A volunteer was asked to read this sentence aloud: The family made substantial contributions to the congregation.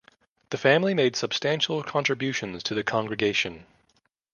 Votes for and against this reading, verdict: 2, 0, accepted